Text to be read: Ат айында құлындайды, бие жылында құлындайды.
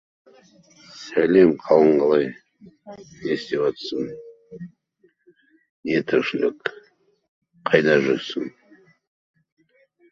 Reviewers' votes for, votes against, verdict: 0, 2, rejected